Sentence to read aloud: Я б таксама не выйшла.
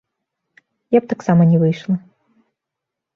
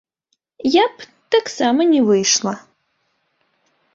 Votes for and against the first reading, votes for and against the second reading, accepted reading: 2, 0, 1, 2, first